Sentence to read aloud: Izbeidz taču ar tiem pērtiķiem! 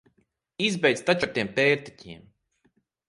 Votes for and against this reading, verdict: 6, 0, accepted